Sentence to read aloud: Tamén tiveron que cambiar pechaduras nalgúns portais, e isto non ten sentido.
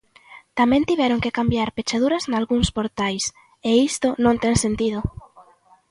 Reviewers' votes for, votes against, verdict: 2, 0, accepted